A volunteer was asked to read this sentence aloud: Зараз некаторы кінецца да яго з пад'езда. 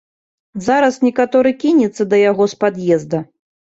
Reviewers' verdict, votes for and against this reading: accepted, 2, 0